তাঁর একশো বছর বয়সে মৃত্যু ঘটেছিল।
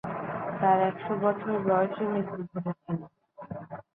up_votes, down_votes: 2, 3